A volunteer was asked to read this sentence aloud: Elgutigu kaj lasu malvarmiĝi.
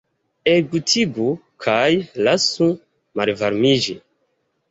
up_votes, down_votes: 2, 1